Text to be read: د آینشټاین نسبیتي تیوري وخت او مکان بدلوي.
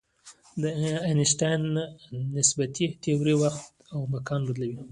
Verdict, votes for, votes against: accepted, 2, 0